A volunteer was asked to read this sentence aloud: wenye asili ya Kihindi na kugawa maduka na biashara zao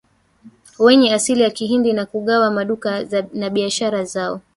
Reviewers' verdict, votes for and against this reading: rejected, 1, 3